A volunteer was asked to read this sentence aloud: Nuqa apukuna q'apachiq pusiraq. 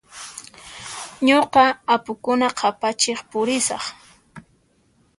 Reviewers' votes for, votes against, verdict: 0, 2, rejected